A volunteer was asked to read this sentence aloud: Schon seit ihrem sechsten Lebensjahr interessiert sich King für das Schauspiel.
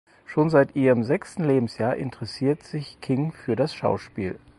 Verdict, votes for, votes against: accepted, 4, 0